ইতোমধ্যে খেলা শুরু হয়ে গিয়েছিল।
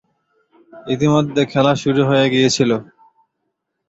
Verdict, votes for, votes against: rejected, 1, 2